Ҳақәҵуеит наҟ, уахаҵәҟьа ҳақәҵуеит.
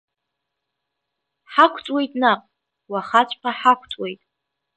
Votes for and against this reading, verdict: 8, 2, accepted